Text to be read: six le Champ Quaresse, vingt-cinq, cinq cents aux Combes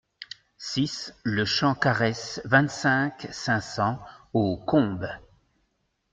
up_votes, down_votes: 2, 0